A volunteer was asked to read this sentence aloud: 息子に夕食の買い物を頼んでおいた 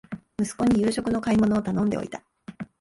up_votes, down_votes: 2, 0